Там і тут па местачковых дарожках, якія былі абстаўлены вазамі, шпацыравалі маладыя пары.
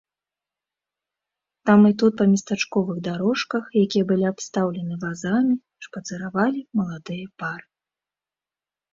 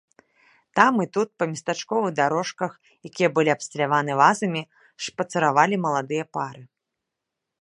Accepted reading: first